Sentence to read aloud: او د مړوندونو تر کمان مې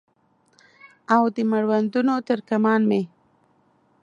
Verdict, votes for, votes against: accepted, 2, 0